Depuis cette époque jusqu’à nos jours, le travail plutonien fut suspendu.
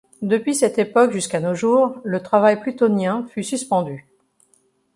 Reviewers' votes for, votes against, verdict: 2, 0, accepted